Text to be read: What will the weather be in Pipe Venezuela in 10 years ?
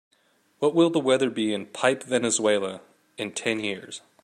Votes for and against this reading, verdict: 0, 2, rejected